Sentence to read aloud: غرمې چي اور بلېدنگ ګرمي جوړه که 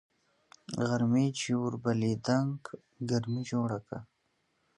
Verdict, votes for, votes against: accepted, 2, 0